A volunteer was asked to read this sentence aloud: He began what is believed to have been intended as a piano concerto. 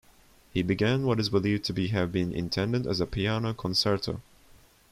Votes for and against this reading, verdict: 0, 2, rejected